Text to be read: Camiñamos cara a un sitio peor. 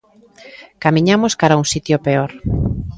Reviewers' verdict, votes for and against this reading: accepted, 2, 0